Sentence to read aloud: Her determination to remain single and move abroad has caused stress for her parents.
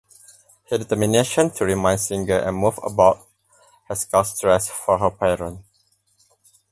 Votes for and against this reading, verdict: 0, 4, rejected